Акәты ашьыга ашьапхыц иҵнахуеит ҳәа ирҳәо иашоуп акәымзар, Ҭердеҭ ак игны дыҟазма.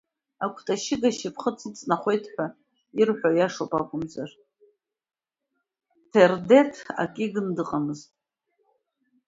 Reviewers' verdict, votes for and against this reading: accepted, 2, 0